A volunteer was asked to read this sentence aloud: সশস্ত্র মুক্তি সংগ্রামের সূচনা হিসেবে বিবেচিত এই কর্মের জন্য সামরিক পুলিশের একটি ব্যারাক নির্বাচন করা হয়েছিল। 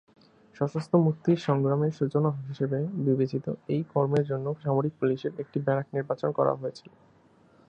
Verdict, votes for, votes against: rejected, 1, 2